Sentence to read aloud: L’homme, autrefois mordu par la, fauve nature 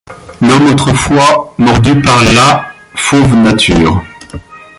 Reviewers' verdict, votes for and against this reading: rejected, 0, 2